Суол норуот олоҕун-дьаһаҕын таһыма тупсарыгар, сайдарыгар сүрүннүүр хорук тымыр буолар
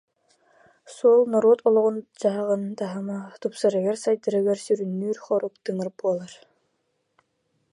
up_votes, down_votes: 2, 0